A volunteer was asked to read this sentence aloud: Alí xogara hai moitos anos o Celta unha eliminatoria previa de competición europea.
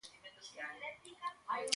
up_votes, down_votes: 1, 2